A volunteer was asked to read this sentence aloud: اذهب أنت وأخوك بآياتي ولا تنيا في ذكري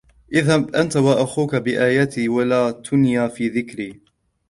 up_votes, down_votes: 1, 3